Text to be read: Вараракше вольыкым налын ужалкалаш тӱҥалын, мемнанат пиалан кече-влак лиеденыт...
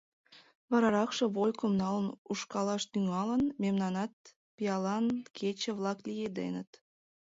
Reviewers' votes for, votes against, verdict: 1, 2, rejected